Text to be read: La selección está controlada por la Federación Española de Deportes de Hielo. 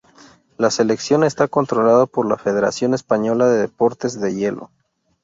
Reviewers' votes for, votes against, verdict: 2, 0, accepted